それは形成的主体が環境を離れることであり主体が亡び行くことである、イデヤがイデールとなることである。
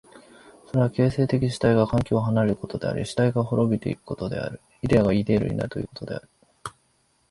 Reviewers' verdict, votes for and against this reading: rejected, 1, 2